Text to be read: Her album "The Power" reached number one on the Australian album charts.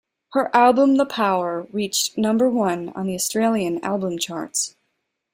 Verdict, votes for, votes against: accepted, 2, 0